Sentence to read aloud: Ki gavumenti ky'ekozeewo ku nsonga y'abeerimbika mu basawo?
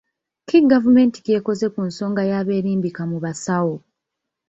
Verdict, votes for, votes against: rejected, 1, 2